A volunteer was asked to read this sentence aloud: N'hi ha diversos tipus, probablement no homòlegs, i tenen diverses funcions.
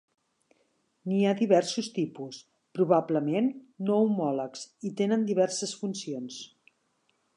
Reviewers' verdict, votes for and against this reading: accepted, 4, 0